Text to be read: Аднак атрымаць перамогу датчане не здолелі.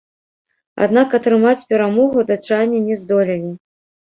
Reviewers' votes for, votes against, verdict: 1, 2, rejected